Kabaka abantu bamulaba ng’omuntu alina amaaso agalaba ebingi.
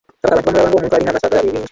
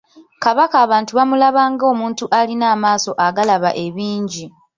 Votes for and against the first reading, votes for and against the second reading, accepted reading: 0, 2, 2, 1, second